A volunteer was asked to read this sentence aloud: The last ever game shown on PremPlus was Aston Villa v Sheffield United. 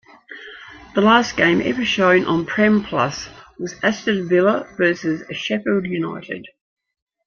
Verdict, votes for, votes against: rejected, 0, 2